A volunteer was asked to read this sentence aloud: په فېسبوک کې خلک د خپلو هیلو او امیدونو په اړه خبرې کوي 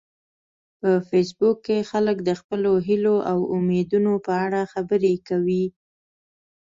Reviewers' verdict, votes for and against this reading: accepted, 2, 1